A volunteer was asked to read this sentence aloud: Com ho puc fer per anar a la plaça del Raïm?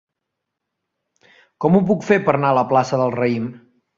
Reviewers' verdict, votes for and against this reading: rejected, 0, 2